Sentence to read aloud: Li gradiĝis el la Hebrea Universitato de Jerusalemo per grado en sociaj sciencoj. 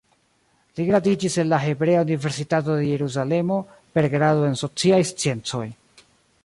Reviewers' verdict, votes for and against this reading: accepted, 2, 0